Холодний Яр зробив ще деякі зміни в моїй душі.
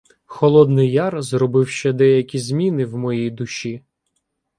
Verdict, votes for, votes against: rejected, 0, 2